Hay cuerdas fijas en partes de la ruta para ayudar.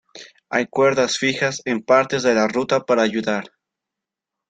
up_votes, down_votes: 2, 0